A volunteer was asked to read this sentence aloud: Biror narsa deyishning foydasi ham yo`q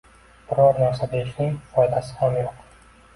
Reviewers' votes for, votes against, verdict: 2, 0, accepted